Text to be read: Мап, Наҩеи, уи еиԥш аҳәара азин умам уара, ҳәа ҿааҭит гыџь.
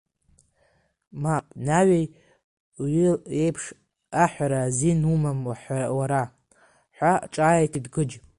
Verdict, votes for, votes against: rejected, 1, 2